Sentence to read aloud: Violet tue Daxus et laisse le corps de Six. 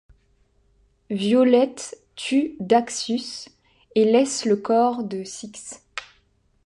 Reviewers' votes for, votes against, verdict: 0, 3, rejected